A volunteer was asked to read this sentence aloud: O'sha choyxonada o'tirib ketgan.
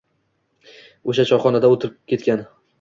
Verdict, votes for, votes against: accepted, 2, 0